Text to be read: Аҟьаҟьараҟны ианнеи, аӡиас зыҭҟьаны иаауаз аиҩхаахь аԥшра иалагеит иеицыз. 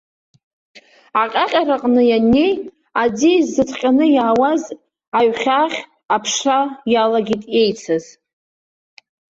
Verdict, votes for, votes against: rejected, 0, 2